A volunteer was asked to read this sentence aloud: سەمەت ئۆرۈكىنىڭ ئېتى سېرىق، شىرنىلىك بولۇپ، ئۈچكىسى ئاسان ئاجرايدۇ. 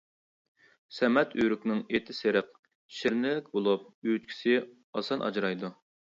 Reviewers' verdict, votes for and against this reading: rejected, 0, 2